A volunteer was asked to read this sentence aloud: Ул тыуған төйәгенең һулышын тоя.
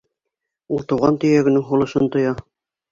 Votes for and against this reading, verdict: 2, 0, accepted